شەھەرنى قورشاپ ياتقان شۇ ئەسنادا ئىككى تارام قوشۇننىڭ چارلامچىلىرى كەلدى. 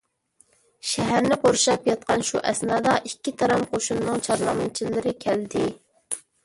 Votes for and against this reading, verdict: 1, 2, rejected